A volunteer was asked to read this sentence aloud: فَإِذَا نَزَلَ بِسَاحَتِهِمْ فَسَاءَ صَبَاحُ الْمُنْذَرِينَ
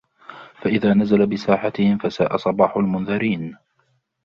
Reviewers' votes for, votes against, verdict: 3, 0, accepted